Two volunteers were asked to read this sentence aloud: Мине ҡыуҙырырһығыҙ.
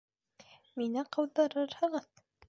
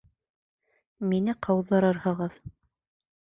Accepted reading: second